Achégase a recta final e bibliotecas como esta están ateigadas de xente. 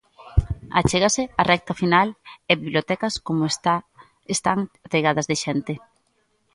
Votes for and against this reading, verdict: 1, 2, rejected